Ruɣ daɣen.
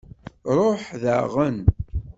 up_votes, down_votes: 0, 2